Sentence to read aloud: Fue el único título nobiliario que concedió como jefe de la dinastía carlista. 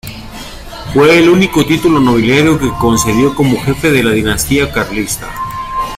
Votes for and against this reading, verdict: 2, 0, accepted